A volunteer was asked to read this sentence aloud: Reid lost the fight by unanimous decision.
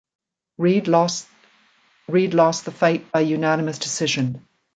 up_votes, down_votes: 0, 2